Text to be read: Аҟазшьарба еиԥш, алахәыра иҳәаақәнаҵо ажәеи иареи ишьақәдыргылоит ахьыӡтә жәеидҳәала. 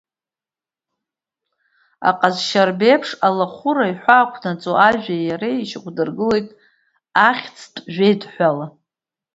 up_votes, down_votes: 1, 2